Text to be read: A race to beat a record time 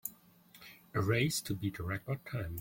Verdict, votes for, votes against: accepted, 2, 0